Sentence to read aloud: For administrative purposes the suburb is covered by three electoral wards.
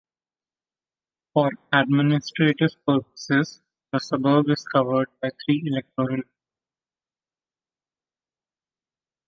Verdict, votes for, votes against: rejected, 0, 2